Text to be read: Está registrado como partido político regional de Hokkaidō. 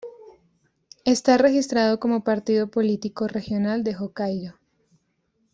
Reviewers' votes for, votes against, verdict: 2, 0, accepted